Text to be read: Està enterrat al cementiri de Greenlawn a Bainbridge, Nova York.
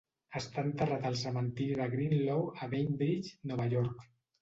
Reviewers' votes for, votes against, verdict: 1, 2, rejected